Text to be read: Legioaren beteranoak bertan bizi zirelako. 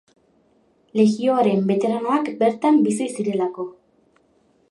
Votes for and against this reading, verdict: 1, 2, rejected